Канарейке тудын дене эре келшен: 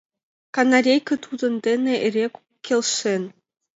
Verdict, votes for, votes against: accepted, 2, 0